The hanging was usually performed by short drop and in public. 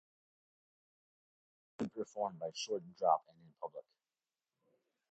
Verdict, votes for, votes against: rejected, 0, 2